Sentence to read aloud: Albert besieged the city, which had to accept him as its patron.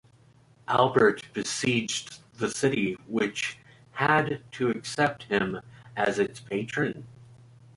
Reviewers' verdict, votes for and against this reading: rejected, 0, 2